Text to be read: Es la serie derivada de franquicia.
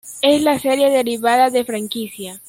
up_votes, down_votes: 1, 2